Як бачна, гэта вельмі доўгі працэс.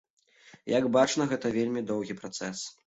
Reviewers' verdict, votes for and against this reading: accepted, 2, 0